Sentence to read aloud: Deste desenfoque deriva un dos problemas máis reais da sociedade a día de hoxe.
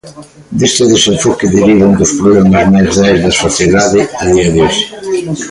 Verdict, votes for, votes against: rejected, 1, 2